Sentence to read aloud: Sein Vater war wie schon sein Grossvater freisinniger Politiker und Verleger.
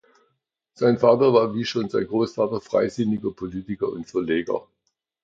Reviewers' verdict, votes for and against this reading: accepted, 2, 0